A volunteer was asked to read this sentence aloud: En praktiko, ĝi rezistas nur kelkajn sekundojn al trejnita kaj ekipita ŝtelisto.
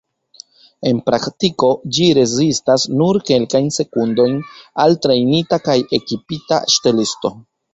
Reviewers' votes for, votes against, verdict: 1, 2, rejected